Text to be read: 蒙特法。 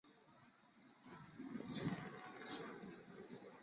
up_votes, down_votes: 1, 3